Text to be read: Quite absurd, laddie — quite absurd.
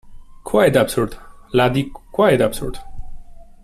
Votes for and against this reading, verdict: 2, 1, accepted